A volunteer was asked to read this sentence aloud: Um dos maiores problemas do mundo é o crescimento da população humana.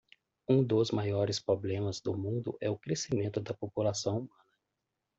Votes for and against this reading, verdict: 0, 2, rejected